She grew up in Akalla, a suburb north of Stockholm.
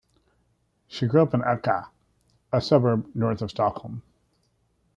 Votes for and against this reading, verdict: 1, 2, rejected